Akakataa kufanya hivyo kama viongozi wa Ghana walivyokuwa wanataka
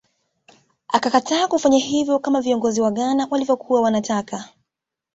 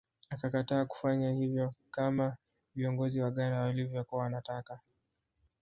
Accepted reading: first